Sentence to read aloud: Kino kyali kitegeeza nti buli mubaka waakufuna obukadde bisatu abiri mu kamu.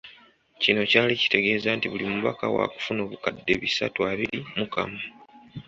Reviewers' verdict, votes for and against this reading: accepted, 2, 0